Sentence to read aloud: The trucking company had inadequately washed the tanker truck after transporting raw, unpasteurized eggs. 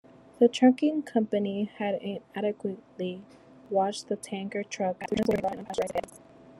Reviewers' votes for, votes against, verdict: 1, 2, rejected